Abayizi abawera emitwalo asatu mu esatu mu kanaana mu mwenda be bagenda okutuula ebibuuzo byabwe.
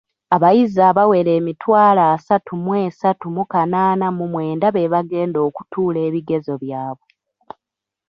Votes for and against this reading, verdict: 1, 2, rejected